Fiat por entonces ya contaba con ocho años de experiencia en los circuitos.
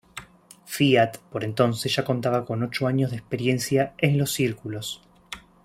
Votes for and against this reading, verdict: 0, 2, rejected